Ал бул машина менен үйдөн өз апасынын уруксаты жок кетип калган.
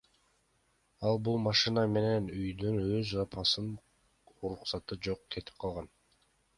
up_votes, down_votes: 2, 0